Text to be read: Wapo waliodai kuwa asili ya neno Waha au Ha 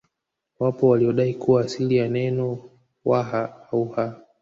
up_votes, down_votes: 0, 2